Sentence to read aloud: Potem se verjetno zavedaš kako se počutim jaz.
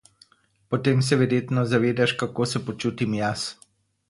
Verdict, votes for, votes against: accepted, 4, 0